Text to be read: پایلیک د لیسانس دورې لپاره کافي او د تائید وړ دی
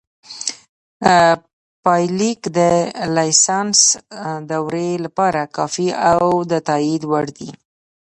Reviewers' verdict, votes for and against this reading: rejected, 1, 2